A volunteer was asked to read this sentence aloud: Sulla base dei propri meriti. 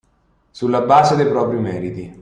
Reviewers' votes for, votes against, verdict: 2, 0, accepted